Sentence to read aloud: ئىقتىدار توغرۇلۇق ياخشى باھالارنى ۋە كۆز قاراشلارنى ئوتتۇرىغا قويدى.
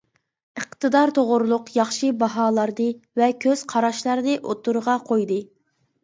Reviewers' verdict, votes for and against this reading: accepted, 2, 1